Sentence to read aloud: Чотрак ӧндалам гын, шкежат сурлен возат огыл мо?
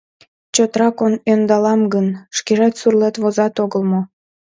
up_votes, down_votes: 0, 2